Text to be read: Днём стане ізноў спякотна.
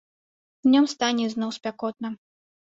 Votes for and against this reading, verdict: 1, 2, rejected